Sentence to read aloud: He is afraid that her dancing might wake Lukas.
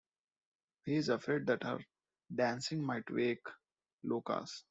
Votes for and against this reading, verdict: 0, 2, rejected